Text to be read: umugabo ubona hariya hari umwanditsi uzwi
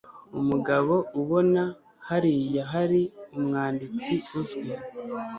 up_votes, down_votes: 2, 0